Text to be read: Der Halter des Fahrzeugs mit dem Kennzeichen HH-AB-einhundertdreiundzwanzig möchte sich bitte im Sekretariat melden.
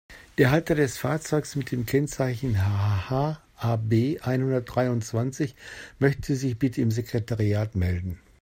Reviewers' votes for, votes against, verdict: 0, 2, rejected